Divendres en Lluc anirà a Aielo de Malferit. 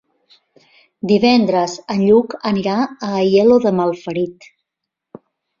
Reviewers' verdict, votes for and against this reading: accepted, 3, 0